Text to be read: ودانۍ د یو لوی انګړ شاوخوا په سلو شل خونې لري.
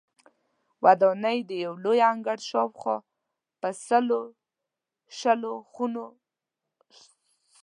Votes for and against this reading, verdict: 1, 2, rejected